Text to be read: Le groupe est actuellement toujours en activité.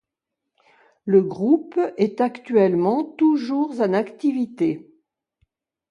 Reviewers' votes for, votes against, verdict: 2, 0, accepted